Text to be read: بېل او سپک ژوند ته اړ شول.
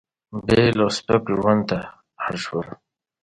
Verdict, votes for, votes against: accepted, 2, 0